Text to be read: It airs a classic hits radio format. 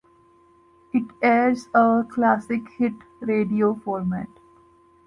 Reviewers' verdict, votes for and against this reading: rejected, 0, 2